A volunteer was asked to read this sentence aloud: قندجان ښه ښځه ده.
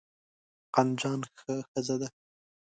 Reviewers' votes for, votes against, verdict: 2, 0, accepted